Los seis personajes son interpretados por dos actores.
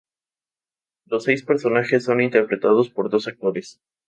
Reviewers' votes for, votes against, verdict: 2, 0, accepted